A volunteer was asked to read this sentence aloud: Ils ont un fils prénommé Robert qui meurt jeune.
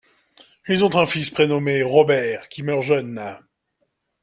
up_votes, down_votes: 2, 0